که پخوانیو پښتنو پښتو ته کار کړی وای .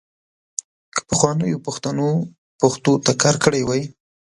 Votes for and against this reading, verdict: 2, 0, accepted